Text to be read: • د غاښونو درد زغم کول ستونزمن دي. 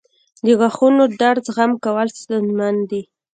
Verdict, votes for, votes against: accepted, 2, 0